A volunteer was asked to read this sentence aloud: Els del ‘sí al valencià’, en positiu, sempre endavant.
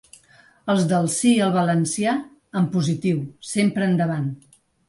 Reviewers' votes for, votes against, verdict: 2, 0, accepted